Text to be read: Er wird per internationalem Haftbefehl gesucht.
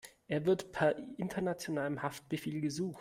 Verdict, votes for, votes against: accepted, 2, 0